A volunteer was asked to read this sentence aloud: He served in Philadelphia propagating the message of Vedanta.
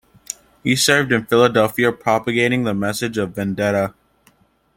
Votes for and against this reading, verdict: 0, 2, rejected